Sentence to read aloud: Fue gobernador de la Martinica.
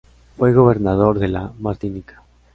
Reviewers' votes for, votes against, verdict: 2, 0, accepted